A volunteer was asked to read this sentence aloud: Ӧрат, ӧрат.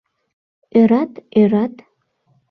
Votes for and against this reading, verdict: 2, 0, accepted